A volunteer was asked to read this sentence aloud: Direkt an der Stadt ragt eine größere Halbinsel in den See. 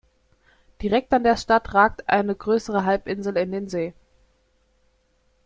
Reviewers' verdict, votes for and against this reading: accepted, 2, 1